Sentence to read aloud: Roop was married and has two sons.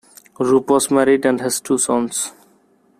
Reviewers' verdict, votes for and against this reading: accepted, 2, 0